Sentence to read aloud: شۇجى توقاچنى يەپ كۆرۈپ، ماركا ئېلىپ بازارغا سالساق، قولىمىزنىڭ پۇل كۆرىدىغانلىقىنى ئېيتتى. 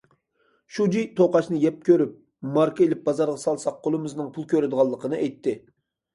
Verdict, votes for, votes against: accepted, 2, 0